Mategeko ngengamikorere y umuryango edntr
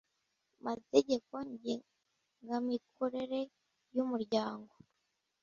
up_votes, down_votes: 2, 0